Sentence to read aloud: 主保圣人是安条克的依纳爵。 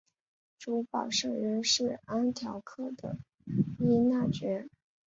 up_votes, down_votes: 2, 1